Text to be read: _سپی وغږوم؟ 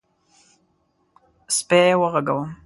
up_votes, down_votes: 2, 0